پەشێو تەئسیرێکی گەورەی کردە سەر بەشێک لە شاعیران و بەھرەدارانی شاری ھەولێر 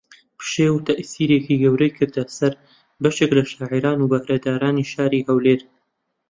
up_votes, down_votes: 1, 2